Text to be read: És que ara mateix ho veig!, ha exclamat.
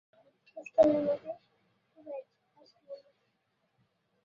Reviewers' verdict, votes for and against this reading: rejected, 0, 2